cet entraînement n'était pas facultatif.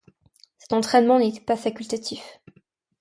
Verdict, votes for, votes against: rejected, 1, 2